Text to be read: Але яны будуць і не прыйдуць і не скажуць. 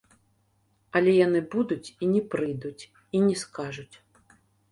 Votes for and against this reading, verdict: 2, 0, accepted